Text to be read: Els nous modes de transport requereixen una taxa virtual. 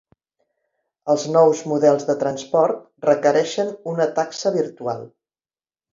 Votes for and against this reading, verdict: 1, 2, rejected